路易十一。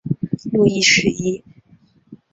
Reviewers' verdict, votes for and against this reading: accepted, 2, 0